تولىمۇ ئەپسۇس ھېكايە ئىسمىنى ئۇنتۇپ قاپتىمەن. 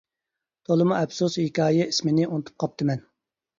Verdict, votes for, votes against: accepted, 2, 0